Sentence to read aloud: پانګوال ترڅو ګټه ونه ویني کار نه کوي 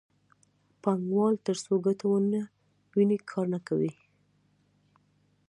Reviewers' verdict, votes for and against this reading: accepted, 2, 0